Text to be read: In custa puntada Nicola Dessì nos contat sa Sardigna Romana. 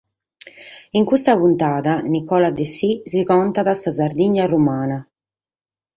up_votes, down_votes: 4, 0